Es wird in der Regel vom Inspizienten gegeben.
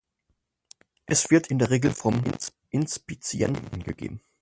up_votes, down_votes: 0, 4